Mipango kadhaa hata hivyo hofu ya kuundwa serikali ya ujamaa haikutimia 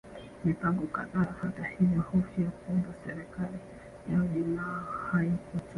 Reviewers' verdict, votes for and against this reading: rejected, 0, 2